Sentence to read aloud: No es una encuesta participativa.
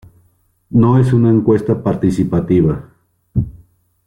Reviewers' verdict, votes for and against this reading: rejected, 1, 2